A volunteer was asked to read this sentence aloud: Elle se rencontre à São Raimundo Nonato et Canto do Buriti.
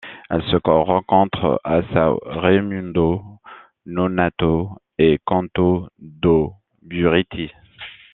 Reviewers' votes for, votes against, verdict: 0, 2, rejected